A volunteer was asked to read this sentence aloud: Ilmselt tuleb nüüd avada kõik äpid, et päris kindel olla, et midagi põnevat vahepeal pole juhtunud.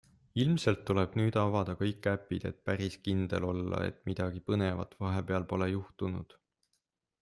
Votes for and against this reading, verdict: 2, 0, accepted